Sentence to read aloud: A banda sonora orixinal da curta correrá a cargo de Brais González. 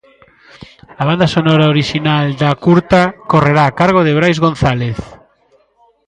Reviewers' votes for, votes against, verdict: 0, 2, rejected